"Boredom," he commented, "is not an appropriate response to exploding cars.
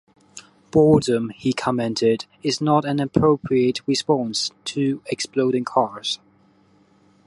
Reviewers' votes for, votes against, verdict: 2, 0, accepted